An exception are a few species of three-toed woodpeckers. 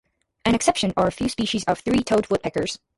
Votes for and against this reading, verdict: 0, 2, rejected